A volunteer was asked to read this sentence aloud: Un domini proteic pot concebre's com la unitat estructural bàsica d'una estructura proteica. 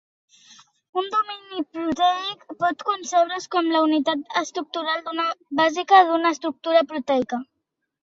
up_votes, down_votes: 0, 2